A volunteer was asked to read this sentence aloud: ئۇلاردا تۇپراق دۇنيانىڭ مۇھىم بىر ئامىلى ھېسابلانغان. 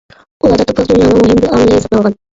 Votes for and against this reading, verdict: 0, 2, rejected